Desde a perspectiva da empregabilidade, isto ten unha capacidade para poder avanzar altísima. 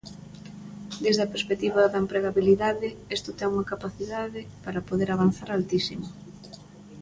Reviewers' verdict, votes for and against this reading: rejected, 1, 2